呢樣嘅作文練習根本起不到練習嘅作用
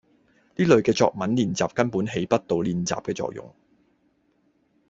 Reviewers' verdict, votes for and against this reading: rejected, 1, 2